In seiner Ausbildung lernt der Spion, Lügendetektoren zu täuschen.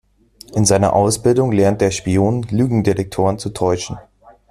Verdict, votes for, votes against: accepted, 2, 0